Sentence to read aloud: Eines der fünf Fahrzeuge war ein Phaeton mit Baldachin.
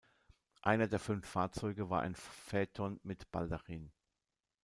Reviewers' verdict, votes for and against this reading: rejected, 1, 2